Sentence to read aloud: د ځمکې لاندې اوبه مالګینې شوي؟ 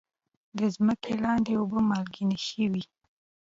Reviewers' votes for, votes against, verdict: 2, 0, accepted